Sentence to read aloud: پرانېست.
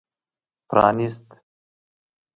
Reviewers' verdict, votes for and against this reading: rejected, 0, 2